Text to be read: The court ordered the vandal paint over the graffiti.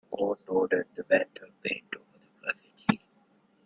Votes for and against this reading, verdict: 0, 2, rejected